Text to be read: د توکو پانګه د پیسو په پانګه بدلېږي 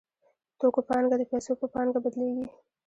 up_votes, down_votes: 2, 0